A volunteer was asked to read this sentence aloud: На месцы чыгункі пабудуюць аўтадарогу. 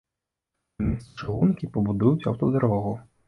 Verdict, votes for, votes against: rejected, 0, 2